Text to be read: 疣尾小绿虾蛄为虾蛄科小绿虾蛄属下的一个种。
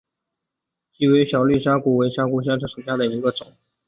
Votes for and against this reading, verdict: 2, 0, accepted